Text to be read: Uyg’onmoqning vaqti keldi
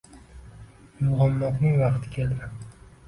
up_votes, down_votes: 2, 0